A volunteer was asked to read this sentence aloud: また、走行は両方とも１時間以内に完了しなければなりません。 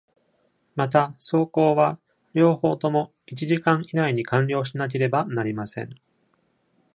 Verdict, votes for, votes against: rejected, 0, 2